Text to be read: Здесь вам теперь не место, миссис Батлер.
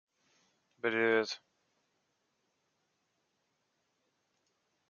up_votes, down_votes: 0, 2